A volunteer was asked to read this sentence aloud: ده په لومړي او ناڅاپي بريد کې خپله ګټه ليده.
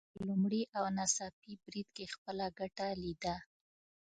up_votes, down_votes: 0, 2